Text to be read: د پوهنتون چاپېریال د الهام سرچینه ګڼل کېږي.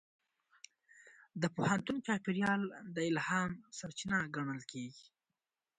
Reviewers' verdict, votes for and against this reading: rejected, 1, 2